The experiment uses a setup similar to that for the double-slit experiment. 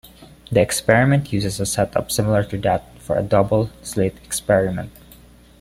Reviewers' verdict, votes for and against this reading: accepted, 2, 0